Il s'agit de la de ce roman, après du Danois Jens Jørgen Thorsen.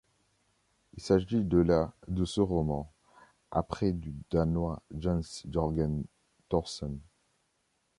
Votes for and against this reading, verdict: 2, 0, accepted